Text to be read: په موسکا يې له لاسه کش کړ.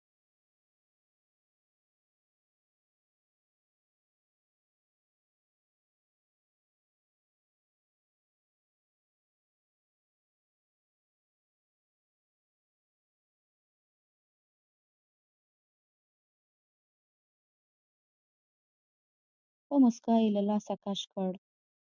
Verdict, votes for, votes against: rejected, 0, 2